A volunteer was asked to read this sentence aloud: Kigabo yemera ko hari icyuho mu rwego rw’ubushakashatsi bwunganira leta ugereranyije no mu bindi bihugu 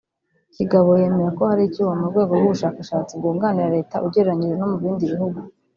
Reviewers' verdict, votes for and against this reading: rejected, 1, 2